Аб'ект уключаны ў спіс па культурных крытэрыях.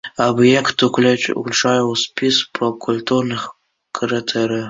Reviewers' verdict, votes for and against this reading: rejected, 0, 2